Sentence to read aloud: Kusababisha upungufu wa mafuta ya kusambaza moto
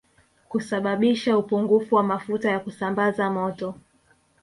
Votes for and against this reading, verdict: 1, 2, rejected